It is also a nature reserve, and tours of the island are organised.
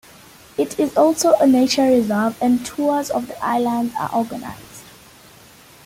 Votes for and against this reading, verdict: 2, 0, accepted